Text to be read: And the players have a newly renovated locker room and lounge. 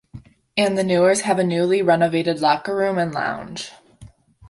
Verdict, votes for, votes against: rejected, 1, 2